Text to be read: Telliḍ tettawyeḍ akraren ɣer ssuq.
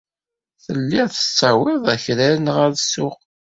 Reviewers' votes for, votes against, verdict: 0, 2, rejected